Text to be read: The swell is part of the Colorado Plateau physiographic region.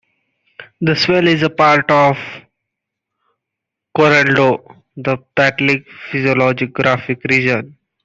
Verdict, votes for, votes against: rejected, 0, 2